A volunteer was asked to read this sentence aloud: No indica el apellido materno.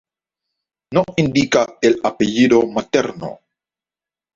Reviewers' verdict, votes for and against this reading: accepted, 2, 0